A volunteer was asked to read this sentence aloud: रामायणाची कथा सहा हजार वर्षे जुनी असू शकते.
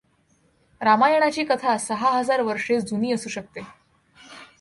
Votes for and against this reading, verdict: 2, 0, accepted